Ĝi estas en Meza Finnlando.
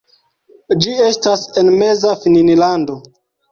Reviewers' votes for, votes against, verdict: 2, 1, accepted